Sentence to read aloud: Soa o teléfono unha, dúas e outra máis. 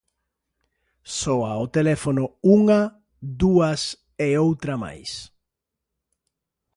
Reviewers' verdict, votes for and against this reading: accepted, 2, 0